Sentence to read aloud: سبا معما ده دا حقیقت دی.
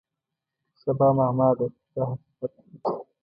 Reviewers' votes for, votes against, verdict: 2, 0, accepted